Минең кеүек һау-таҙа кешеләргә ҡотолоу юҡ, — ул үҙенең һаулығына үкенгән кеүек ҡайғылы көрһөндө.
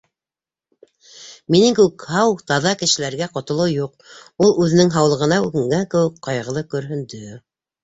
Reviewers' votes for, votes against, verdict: 2, 0, accepted